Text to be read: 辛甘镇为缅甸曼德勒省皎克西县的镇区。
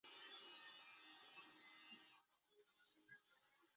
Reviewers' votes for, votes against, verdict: 0, 2, rejected